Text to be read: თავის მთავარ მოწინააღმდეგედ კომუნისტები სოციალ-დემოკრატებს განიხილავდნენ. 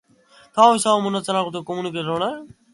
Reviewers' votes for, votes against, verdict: 0, 3, rejected